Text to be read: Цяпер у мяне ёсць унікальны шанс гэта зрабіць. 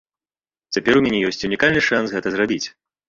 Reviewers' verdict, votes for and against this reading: rejected, 1, 2